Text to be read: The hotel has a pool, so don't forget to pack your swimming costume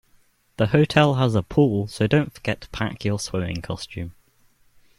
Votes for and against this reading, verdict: 2, 0, accepted